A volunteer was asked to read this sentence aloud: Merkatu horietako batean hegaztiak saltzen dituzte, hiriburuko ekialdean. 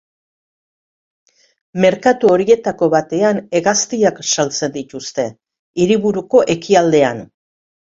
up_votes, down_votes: 2, 0